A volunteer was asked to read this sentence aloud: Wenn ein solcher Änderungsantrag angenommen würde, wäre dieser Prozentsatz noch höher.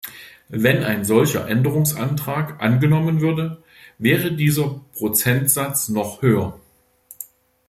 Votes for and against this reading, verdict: 2, 0, accepted